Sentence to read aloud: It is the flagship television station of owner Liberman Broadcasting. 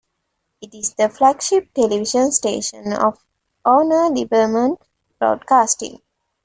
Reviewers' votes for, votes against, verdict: 2, 0, accepted